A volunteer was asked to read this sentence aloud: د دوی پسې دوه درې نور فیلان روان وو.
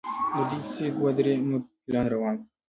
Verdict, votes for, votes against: accepted, 2, 1